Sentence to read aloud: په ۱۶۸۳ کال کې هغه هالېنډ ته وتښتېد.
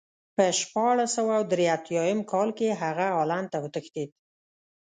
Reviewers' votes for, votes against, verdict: 0, 2, rejected